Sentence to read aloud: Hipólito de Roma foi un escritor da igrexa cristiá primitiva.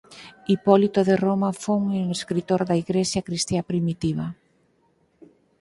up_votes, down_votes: 0, 4